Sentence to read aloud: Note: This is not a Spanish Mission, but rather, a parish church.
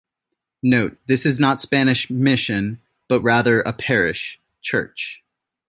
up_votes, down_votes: 2, 1